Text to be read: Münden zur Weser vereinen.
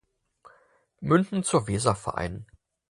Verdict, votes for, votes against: accepted, 4, 0